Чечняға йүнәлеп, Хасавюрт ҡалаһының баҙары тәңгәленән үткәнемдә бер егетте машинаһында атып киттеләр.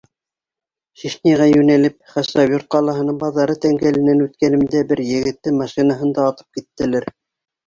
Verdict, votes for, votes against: accepted, 2, 0